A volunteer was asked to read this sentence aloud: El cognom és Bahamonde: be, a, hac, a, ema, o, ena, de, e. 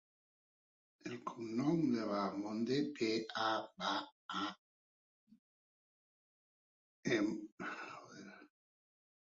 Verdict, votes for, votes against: rejected, 1, 2